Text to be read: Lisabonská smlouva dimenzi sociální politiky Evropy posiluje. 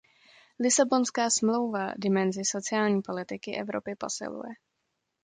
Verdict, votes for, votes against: accepted, 2, 0